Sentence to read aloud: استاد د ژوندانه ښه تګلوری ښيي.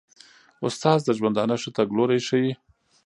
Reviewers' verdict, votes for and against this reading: accepted, 2, 1